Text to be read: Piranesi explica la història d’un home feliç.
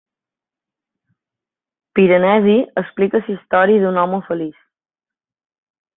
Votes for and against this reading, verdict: 1, 2, rejected